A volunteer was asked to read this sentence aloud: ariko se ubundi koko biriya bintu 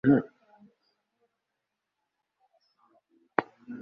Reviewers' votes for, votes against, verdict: 1, 2, rejected